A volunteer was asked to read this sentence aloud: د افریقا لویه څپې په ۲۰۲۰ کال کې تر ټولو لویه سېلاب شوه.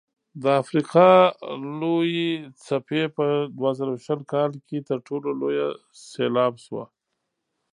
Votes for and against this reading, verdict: 0, 2, rejected